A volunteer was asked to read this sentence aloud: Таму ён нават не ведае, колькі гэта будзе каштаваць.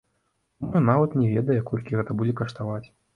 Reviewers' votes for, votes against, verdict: 0, 2, rejected